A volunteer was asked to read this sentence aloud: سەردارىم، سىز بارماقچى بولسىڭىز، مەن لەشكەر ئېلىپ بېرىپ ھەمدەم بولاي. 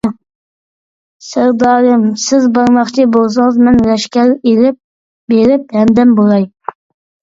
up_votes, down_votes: 2, 0